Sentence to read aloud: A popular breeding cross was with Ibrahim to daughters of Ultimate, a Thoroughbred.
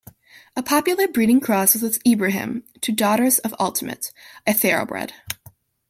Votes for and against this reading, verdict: 2, 1, accepted